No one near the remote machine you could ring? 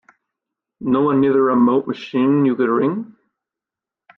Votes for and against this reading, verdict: 2, 0, accepted